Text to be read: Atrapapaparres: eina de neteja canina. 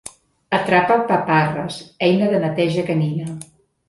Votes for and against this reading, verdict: 2, 0, accepted